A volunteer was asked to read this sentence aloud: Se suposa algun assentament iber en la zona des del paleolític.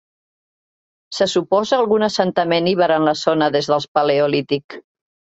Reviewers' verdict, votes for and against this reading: rejected, 1, 2